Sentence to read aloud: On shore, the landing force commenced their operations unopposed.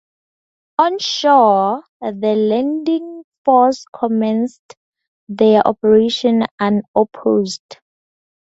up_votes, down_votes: 2, 0